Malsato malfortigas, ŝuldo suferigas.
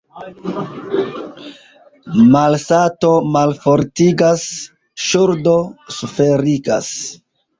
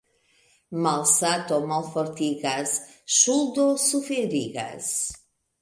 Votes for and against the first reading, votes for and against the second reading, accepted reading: 1, 2, 2, 0, second